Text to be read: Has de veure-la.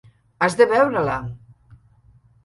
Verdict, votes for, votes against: accepted, 3, 0